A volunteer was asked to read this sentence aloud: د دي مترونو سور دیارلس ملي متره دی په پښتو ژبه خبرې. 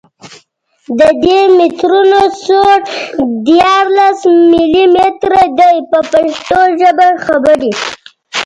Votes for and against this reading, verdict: 2, 0, accepted